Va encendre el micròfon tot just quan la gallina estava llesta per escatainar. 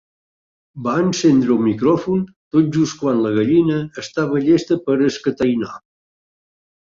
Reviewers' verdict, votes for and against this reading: rejected, 0, 2